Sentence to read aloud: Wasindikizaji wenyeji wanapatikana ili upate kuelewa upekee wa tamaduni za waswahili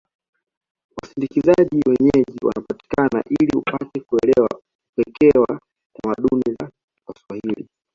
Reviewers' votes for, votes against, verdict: 2, 0, accepted